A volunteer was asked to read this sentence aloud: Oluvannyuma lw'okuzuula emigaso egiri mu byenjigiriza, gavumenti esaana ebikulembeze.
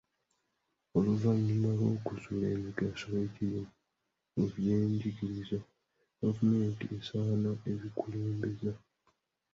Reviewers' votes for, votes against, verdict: 0, 2, rejected